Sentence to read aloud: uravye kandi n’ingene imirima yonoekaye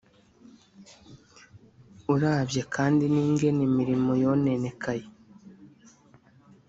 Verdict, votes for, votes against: rejected, 1, 3